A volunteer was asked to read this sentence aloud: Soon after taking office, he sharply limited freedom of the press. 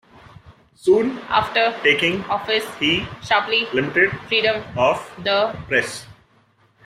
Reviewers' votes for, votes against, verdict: 0, 2, rejected